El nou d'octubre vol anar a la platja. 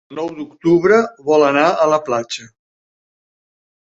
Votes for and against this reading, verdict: 1, 2, rejected